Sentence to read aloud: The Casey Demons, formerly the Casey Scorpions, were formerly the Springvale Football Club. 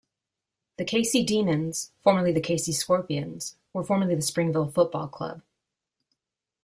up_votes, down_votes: 2, 0